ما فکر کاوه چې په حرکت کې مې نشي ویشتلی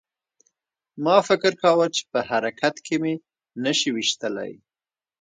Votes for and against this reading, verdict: 2, 0, accepted